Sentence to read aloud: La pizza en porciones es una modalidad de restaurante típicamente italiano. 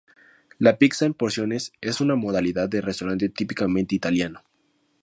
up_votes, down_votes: 2, 0